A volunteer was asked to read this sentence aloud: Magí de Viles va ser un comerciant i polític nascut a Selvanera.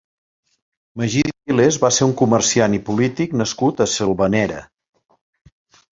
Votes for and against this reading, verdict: 1, 2, rejected